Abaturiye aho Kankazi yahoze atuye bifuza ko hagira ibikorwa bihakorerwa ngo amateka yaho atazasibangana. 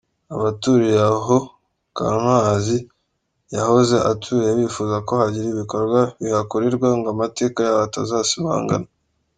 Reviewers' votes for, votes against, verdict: 3, 0, accepted